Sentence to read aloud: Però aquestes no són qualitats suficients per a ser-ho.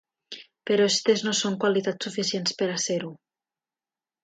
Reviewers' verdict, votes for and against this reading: rejected, 0, 3